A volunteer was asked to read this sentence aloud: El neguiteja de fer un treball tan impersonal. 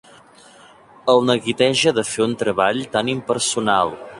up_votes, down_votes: 1, 2